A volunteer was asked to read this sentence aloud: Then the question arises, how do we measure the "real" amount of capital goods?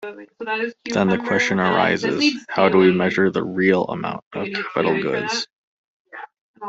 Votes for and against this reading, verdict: 0, 2, rejected